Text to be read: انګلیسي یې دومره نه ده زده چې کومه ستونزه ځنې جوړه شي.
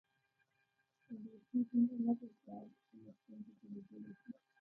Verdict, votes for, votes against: rejected, 0, 2